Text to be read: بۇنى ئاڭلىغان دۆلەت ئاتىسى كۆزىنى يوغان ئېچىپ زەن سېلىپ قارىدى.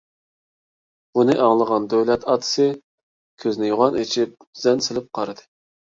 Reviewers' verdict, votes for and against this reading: accepted, 2, 0